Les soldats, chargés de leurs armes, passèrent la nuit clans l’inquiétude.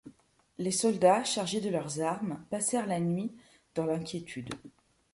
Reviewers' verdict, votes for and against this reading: rejected, 0, 2